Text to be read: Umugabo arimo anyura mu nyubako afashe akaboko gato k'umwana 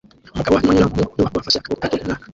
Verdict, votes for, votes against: rejected, 0, 2